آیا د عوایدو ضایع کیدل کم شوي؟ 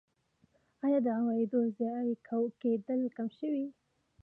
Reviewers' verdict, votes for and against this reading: accepted, 2, 0